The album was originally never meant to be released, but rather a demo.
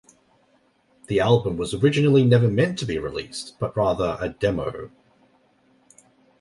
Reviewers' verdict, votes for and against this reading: accepted, 2, 1